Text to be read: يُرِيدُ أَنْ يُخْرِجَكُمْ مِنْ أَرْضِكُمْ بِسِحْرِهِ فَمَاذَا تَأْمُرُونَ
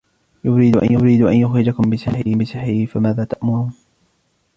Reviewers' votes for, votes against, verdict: 1, 2, rejected